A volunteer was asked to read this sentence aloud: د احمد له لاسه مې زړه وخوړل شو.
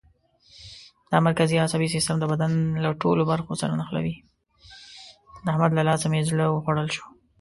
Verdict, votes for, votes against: rejected, 1, 2